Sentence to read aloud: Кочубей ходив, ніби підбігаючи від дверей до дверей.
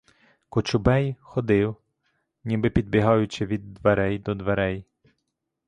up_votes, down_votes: 1, 2